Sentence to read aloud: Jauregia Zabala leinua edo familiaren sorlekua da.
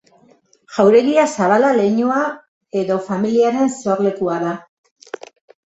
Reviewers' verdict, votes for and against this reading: accepted, 2, 0